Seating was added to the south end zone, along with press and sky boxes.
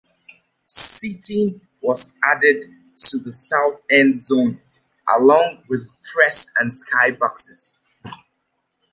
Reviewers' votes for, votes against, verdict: 1, 2, rejected